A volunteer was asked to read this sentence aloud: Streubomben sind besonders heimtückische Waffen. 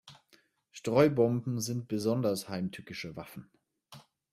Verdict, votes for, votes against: accepted, 2, 0